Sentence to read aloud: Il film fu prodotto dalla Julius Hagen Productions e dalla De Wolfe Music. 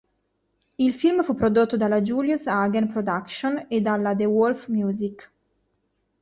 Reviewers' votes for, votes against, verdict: 2, 0, accepted